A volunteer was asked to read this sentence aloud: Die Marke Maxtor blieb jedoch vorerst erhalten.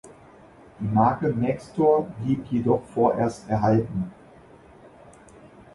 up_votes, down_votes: 3, 0